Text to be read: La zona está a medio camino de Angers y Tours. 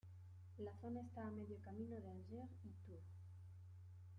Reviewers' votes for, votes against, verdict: 0, 2, rejected